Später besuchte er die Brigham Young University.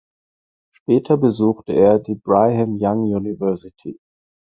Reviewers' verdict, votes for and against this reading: rejected, 2, 4